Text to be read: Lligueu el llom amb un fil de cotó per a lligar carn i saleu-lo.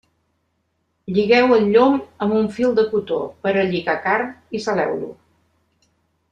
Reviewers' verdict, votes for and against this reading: rejected, 1, 2